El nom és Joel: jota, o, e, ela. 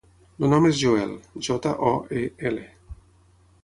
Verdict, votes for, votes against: accepted, 6, 3